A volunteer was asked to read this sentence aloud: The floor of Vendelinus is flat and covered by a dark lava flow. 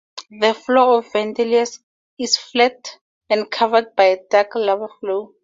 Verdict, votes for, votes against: accepted, 2, 0